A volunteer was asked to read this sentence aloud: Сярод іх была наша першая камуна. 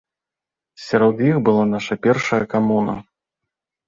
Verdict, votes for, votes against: accepted, 2, 0